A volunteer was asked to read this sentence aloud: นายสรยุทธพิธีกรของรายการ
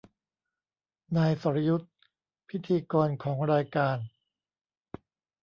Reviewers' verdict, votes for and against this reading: accepted, 2, 0